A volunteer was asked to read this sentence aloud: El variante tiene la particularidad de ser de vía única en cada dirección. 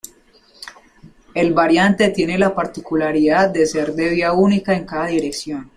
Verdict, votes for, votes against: accepted, 2, 0